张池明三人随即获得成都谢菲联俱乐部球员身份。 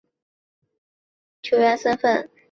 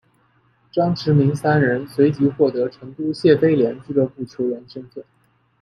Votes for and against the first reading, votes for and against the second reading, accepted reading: 0, 5, 2, 0, second